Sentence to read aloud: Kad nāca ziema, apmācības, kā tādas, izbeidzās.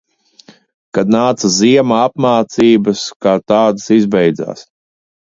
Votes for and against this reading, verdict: 2, 0, accepted